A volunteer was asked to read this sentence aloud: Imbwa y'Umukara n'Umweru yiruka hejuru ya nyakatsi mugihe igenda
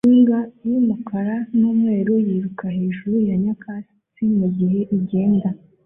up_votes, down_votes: 3, 0